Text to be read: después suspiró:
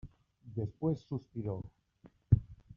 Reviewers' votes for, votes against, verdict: 1, 2, rejected